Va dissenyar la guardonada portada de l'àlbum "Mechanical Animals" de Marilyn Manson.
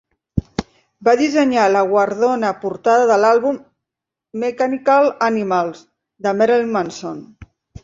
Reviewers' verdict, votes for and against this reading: rejected, 0, 2